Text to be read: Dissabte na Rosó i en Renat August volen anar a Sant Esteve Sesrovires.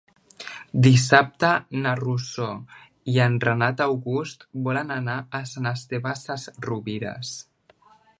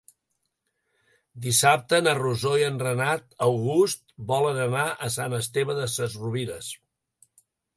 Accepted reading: first